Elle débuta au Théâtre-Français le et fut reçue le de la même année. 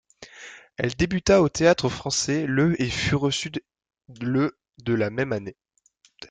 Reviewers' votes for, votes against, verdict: 1, 2, rejected